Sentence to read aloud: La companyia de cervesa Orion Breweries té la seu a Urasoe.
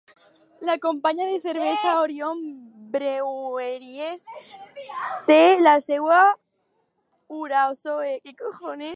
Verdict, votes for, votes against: rejected, 0, 4